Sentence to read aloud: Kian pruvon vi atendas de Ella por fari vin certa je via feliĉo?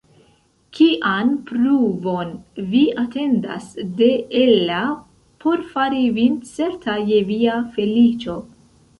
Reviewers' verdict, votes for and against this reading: rejected, 1, 2